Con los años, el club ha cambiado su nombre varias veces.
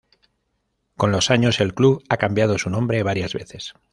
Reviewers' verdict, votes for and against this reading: accepted, 2, 0